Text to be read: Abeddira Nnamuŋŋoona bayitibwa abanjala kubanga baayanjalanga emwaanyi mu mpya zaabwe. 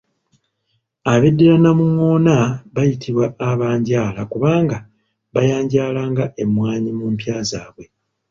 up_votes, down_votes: 1, 2